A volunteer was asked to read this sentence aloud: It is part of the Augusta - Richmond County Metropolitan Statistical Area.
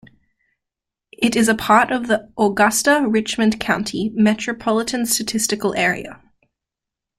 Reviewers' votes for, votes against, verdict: 1, 2, rejected